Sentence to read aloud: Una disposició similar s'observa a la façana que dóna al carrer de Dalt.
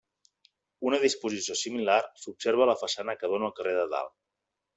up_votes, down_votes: 3, 0